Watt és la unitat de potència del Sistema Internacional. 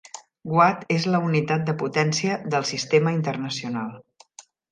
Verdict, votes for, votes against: accepted, 3, 0